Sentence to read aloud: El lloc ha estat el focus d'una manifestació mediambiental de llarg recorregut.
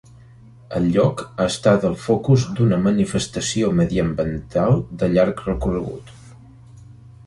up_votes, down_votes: 1, 2